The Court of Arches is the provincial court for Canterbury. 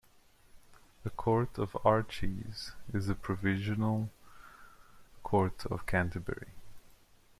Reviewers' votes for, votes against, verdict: 0, 2, rejected